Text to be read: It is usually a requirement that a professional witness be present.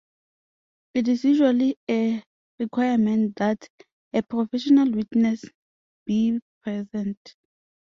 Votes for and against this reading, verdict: 2, 0, accepted